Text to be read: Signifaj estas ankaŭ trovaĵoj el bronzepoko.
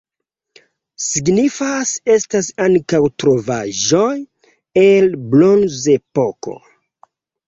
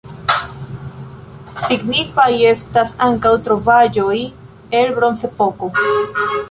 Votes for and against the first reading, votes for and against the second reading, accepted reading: 2, 3, 2, 0, second